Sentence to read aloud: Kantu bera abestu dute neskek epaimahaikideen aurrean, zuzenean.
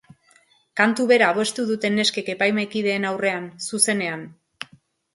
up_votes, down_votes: 2, 0